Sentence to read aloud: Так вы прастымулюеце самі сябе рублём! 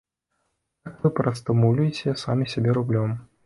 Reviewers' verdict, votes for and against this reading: rejected, 1, 2